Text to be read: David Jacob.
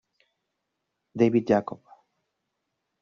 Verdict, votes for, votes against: rejected, 1, 2